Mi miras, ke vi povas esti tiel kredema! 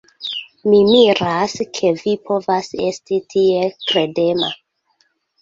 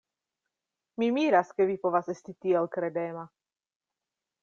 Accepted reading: second